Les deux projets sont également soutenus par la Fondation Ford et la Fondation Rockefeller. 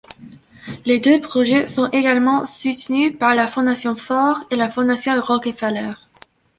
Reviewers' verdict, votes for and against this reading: rejected, 1, 2